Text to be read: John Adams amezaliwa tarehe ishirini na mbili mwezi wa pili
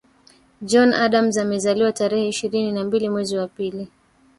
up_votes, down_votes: 1, 2